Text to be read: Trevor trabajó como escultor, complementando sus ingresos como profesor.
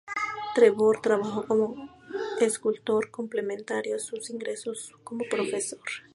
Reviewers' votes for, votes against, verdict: 0, 2, rejected